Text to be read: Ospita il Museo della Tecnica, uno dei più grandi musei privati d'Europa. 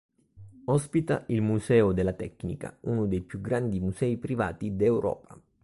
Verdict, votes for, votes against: accepted, 2, 0